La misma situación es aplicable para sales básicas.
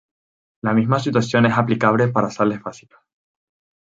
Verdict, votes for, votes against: accepted, 4, 0